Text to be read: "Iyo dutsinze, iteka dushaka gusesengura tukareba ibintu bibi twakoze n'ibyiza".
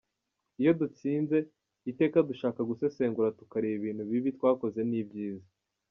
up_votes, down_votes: 2, 1